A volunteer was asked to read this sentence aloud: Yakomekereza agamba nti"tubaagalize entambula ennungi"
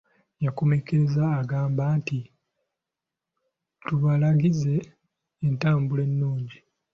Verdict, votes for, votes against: rejected, 0, 2